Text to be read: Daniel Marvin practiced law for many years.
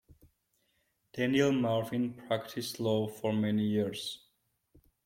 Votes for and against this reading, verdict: 2, 0, accepted